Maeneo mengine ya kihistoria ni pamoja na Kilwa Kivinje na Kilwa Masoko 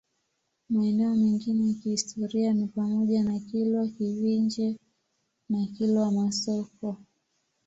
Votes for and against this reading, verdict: 2, 0, accepted